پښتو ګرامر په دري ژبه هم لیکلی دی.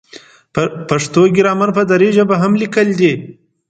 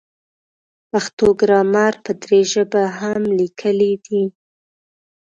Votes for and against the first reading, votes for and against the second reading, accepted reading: 2, 0, 1, 2, first